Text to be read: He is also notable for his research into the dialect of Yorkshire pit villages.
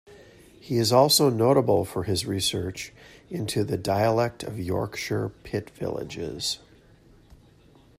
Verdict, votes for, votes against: accepted, 2, 0